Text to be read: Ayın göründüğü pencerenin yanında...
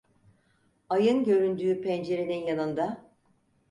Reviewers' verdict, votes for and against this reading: accepted, 4, 0